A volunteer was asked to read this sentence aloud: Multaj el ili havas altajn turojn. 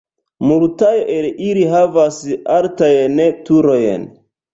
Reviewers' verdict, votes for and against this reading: rejected, 1, 2